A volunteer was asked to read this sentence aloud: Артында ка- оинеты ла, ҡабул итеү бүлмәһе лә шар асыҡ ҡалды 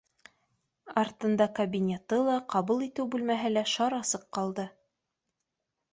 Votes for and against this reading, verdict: 2, 0, accepted